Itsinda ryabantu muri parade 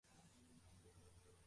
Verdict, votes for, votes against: rejected, 0, 2